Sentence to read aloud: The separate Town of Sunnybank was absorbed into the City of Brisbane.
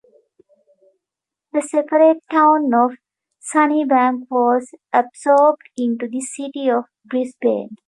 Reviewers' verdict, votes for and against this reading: accepted, 2, 0